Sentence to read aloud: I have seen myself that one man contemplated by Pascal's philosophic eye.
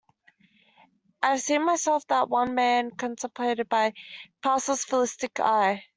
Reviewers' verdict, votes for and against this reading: rejected, 0, 2